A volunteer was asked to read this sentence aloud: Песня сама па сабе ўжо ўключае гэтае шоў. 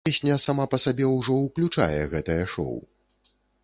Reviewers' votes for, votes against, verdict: 0, 2, rejected